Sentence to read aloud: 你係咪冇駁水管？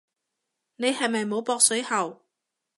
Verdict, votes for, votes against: rejected, 1, 2